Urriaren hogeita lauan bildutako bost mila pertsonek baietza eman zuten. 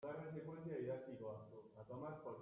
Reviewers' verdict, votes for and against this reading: rejected, 0, 2